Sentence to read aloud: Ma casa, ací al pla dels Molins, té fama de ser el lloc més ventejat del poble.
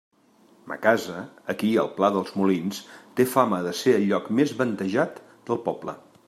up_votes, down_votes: 0, 2